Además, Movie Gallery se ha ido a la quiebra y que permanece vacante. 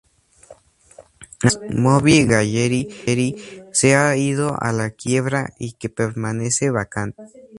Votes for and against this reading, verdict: 0, 2, rejected